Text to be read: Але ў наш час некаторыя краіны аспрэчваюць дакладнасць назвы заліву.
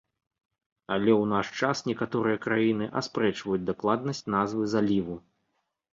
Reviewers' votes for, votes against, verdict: 2, 0, accepted